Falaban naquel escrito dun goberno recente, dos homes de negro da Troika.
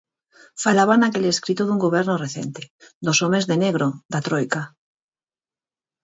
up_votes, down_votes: 4, 0